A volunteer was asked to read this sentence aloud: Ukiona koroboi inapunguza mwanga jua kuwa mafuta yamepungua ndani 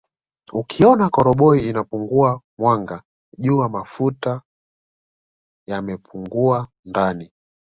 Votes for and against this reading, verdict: 2, 1, accepted